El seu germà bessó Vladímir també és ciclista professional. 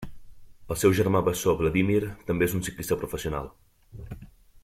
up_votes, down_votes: 2, 1